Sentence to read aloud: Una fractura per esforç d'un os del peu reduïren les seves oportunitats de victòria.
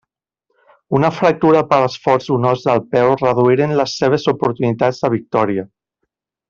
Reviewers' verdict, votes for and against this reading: accepted, 2, 0